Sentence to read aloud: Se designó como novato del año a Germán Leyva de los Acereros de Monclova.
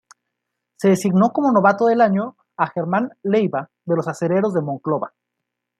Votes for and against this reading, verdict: 2, 0, accepted